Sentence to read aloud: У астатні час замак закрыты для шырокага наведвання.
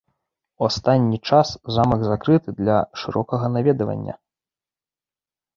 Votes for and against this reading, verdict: 2, 3, rejected